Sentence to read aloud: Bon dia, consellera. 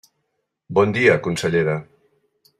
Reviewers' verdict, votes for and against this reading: accepted, 3, 0